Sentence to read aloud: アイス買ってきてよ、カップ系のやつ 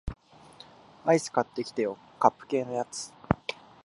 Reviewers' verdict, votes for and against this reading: accepted, 4, 0